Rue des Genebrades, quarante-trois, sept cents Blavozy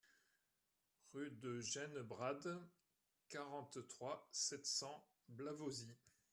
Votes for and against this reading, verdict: 2, 0, accepted